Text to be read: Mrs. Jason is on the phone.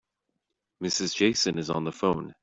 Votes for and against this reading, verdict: 2, 0, accepted